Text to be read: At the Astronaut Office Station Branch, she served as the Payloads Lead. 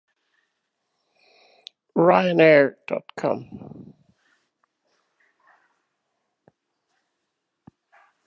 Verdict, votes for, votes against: rejected, 0, 2